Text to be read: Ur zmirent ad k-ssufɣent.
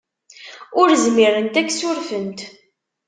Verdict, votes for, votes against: rejected, 1, 2